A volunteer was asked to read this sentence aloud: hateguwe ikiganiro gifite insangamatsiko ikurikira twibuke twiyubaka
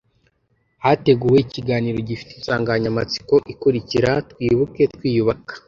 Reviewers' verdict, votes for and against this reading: rejected, 1, 2